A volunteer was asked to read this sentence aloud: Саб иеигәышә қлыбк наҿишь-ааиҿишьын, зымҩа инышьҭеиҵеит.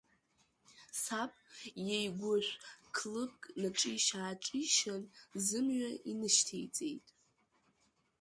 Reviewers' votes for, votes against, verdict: 0, 2, rejected